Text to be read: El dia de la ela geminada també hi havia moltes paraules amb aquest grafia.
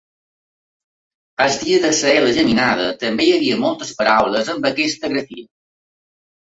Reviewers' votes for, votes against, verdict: 1, 2, rejected